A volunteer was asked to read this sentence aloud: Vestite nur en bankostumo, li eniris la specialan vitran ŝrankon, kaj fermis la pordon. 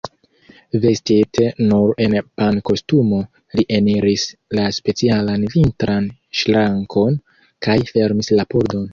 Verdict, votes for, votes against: rejected, 1, 2